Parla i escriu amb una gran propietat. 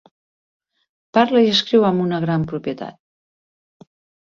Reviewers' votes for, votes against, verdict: 3, 0, accepted